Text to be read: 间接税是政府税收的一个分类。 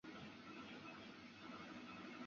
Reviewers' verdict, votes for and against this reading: rejected, 0, 4